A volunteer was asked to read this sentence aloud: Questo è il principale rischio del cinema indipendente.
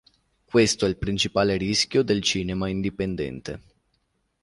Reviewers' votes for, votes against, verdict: 2, 0, accepted